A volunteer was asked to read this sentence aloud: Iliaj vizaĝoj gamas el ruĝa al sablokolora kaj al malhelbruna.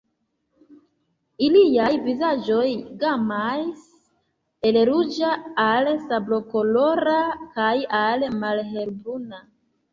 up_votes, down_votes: 0, 2